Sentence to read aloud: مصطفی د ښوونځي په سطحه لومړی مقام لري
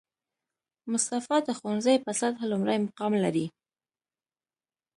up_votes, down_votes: 2, 0